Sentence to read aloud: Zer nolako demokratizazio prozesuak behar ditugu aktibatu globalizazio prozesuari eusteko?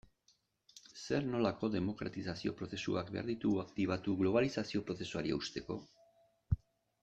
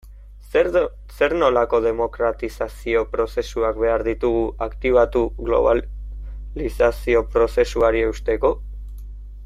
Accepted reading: first